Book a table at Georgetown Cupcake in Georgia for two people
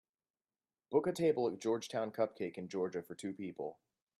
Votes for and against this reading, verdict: 3, 0, accepted